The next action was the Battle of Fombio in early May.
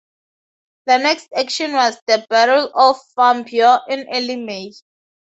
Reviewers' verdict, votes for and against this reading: accepted, 2, 0